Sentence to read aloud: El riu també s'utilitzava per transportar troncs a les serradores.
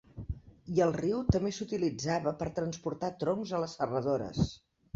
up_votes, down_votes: 0, 2